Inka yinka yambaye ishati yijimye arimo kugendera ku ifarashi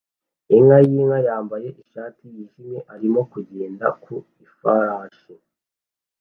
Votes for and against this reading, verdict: 0, 2, rejected